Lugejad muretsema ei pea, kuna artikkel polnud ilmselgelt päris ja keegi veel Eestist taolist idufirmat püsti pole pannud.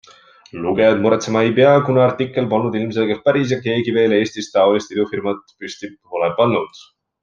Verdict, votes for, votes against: accepted, 2, 0